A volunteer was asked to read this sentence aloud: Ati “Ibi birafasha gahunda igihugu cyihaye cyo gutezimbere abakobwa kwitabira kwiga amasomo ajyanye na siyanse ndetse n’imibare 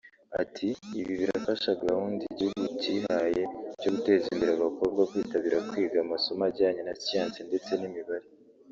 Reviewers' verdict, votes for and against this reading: accepted, 3, 1